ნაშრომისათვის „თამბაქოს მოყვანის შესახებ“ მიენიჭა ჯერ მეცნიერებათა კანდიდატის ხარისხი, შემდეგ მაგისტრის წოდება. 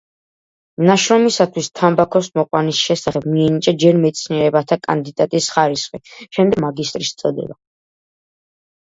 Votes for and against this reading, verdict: 2, 1, accepted